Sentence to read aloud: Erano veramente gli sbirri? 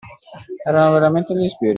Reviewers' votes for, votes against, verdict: 2, 0, accepted